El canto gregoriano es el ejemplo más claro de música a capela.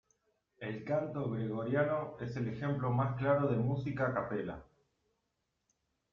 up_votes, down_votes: 1, 2